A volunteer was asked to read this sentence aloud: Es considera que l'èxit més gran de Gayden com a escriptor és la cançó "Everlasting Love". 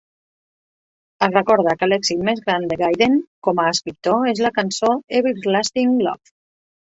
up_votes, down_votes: 0, 2